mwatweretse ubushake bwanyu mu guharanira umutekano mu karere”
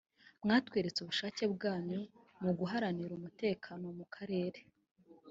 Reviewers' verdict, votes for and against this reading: rejected, 0, 2